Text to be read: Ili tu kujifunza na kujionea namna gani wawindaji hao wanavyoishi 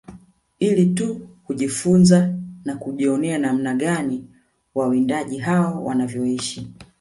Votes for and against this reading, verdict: 2, 0, accepted